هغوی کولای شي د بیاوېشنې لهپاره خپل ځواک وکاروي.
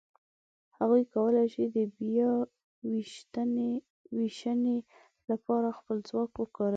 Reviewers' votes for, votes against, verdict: 0, 2, rejected